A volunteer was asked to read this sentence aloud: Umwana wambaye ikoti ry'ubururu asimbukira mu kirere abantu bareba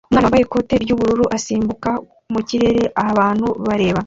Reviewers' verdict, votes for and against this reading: rejected, 0, 2